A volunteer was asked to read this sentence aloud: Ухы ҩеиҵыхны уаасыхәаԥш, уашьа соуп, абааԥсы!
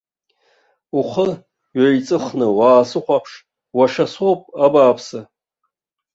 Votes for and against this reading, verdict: 1, 2, rejected